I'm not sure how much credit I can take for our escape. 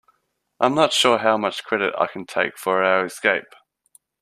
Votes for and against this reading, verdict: 2, 0, accepted